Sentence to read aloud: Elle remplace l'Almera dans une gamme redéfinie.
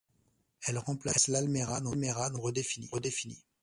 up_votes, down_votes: 1, 2